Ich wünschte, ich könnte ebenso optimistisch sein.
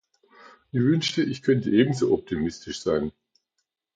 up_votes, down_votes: 0, 2